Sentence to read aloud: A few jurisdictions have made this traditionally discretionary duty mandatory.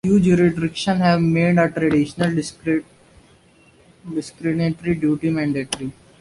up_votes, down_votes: 0, 2